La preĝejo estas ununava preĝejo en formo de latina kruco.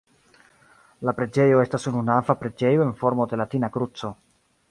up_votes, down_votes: 0, 2